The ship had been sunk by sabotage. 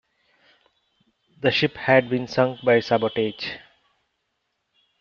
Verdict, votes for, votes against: rejected, 1, 2